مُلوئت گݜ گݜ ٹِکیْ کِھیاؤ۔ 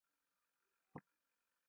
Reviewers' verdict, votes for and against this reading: rejected, 0, 2